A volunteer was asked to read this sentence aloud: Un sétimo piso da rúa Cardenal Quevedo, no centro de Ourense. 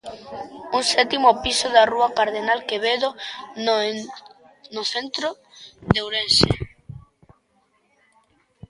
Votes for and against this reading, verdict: 0, 2, rejected